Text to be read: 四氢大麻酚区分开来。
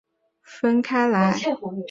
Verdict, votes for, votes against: accepted, 5, 4